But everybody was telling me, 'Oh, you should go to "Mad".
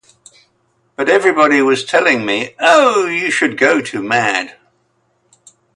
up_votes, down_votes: 2, 0